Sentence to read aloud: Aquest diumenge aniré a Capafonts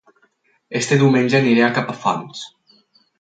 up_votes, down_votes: 2, 4